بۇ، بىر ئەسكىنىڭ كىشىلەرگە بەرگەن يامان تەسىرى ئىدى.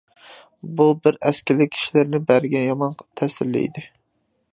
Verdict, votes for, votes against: rejected, 0, 2